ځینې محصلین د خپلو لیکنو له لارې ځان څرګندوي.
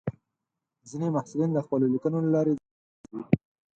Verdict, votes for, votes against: rejected, 2, 6